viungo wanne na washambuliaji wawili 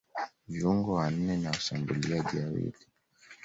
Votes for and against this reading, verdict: 2, 1, accepted